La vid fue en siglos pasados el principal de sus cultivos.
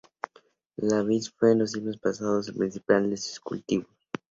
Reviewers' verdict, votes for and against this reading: accepted, 2, 0